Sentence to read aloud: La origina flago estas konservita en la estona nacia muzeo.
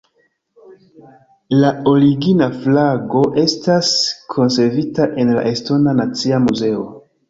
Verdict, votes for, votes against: accepted, 2, 0